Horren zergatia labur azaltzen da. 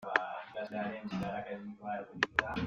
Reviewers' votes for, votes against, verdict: 0, 2, rejected